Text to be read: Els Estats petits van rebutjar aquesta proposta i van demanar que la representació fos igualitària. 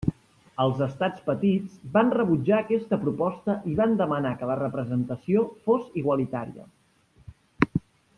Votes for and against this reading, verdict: 3, 0, accepted